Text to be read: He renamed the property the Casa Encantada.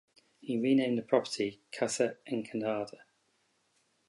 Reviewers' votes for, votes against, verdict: 2, 2, rejected